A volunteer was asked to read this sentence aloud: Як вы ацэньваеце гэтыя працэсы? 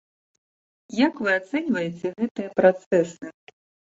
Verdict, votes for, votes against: accepted, 2, 1